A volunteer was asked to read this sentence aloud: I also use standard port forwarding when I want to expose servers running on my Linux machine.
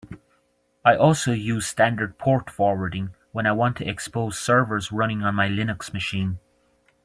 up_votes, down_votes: 2, 0